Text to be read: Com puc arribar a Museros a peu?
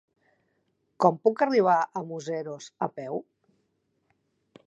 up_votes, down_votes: 3, 0